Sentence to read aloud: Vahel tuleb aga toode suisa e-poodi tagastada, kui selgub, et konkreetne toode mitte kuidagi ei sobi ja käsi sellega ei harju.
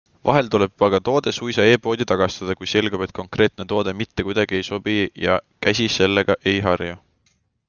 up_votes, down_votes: 2, 0